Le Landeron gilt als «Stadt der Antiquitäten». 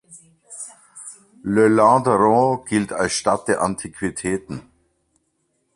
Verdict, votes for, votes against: accepted, 2, 0